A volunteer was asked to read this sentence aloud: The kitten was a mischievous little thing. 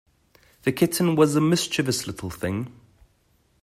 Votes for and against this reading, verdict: 2, 0, accepted